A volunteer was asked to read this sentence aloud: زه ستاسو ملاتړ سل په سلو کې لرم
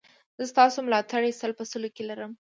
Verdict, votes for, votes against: accepted, 2, 0